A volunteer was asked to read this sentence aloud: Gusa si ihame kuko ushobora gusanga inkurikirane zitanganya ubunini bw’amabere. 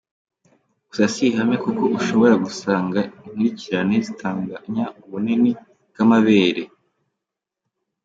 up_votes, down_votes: 2, 0